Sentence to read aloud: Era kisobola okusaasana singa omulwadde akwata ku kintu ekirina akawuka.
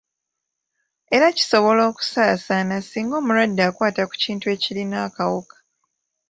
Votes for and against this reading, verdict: 2, 0, accepted